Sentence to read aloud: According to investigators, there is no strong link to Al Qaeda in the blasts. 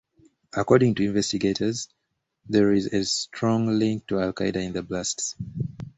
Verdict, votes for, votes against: accepted, 2, 0